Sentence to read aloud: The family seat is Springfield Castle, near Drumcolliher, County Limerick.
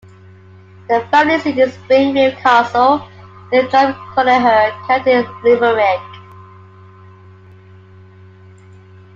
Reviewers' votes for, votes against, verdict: 2, 1, accepted